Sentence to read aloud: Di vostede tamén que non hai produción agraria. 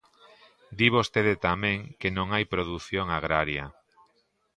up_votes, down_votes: 2, 0